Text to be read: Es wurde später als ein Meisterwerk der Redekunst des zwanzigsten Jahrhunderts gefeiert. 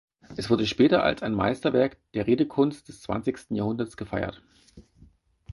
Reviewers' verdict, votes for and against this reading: accepted, 4, 0